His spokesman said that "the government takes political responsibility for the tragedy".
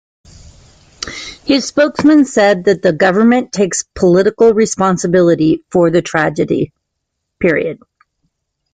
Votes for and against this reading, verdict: 2, 1, accepted